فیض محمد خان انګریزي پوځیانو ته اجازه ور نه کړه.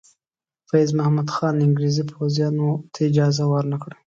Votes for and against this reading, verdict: 2, 0, accepted